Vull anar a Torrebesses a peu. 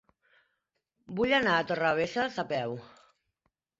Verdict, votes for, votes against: rejected, 0, 2